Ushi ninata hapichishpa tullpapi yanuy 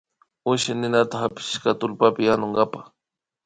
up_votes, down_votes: 1, 2